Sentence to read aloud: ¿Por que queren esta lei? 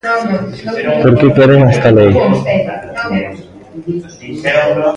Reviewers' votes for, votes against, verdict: 0, 2, rejected